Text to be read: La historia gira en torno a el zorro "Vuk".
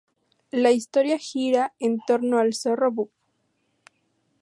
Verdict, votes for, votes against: accepted, 2, 0